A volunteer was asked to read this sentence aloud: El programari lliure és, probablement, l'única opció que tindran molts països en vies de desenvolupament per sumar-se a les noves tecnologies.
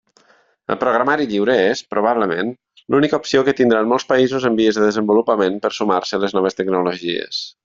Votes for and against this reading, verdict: 2, 0, accepted